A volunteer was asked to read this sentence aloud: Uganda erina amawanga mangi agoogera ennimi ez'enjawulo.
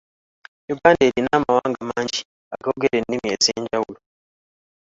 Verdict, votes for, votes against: rejected, 0, 2